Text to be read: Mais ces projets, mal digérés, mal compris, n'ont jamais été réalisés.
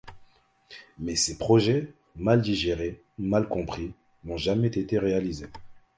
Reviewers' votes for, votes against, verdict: 2, 1, accepted